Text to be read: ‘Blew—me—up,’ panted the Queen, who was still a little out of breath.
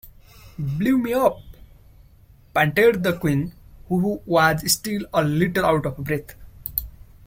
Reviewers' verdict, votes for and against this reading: rejected, 0, 2